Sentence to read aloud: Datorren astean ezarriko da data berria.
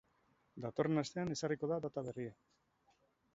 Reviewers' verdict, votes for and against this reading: accepted, 2, 0